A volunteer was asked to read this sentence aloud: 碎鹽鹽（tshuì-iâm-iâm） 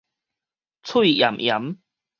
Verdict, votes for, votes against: accepted, 4, 0